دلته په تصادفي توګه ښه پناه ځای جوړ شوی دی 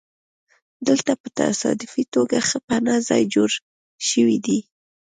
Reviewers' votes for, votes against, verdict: 2, 0, accepted